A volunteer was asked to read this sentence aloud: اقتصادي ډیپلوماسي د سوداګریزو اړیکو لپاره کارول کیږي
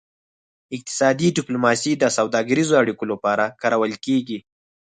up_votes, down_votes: 6, 0